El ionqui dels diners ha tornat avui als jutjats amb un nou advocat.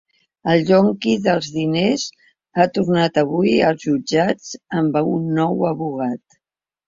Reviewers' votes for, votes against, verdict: 0, 2, rejected